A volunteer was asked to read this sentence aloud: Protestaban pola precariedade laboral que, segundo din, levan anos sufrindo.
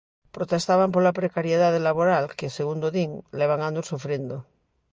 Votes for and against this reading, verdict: 2, 0, accepted